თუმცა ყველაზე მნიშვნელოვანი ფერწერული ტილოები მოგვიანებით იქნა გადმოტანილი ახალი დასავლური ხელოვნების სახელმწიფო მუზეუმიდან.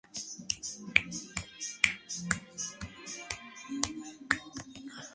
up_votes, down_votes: 0, 2